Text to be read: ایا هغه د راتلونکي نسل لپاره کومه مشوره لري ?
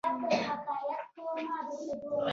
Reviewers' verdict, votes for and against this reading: rejected, 1, 2